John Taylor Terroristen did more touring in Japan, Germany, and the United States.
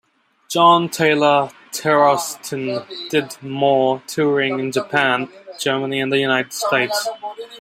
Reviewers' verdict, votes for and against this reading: rejected, 1, 2